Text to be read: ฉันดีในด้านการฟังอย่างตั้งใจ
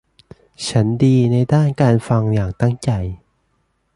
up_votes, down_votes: 2, 0